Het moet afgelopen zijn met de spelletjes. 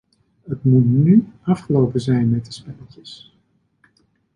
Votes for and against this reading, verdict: 1, 2, rejected